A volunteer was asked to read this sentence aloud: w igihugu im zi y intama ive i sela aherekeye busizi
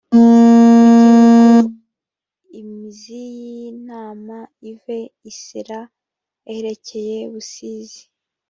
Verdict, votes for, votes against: rejected, 0, 2